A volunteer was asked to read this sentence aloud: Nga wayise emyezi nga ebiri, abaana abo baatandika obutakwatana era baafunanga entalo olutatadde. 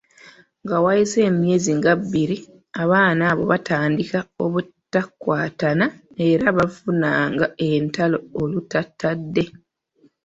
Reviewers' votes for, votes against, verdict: 0, 2, rejected